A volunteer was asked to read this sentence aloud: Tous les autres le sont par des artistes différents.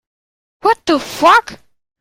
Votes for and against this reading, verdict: 0, 2, rejected